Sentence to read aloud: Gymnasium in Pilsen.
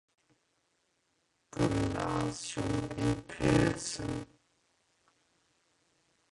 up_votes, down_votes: 0, 2